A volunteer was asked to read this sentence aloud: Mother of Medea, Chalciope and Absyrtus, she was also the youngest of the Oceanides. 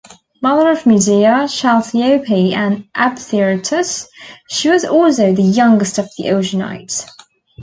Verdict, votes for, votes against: rejected, 0, 2